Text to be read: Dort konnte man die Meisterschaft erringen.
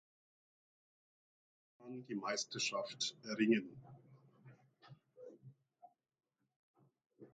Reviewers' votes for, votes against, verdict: 0, 2, rejected